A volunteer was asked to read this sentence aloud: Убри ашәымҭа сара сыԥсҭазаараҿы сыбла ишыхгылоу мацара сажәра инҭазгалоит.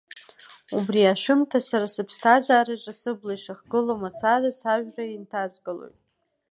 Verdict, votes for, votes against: accepted, 2, 1